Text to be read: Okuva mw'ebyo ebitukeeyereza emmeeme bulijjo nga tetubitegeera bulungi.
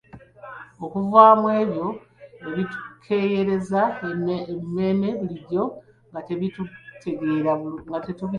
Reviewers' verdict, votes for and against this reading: rejected, 1, 2